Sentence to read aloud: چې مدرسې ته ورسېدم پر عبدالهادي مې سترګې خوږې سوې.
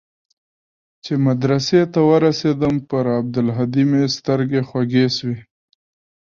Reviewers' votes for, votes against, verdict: 3, 0, accepted